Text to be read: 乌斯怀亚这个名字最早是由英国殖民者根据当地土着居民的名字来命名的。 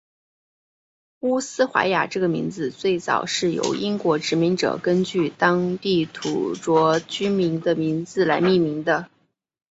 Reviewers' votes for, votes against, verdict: 1, 2, rejected